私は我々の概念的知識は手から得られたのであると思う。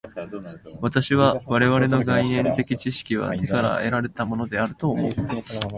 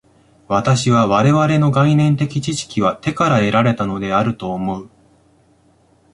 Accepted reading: second